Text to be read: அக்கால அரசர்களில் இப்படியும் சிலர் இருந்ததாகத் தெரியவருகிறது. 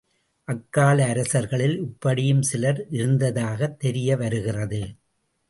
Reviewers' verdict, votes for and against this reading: accepted, 2, 0